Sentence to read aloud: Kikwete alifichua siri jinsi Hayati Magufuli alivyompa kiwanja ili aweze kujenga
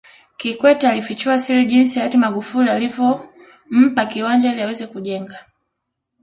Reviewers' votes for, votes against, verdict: 2, 0, accepted